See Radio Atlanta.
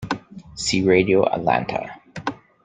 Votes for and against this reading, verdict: 2, 0, accepted